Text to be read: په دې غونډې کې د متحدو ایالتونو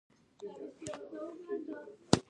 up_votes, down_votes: 1, 2